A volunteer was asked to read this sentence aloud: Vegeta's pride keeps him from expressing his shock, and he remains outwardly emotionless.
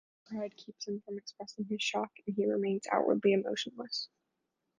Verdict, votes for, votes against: rejected, 0, 2